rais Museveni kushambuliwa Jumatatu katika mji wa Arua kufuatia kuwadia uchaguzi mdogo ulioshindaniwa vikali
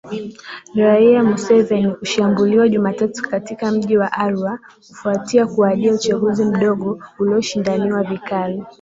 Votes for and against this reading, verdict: 2, 2, rejected